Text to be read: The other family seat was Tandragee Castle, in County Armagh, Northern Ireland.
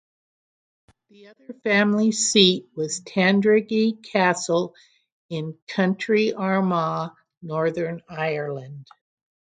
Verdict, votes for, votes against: rejected, 0, 6